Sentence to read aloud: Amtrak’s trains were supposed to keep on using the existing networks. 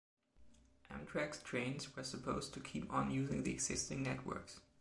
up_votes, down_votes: 0, 2